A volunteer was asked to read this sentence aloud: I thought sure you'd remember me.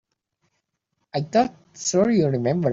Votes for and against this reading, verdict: 0, 3, rejected